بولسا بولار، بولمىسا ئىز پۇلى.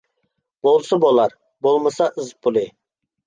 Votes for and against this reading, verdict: 2, 0, accepted